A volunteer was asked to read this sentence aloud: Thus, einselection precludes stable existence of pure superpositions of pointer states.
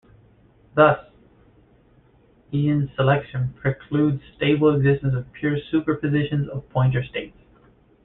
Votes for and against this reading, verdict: 1, 2, rejected